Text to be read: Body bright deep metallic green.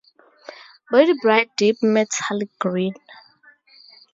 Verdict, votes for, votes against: accepted, 2, 0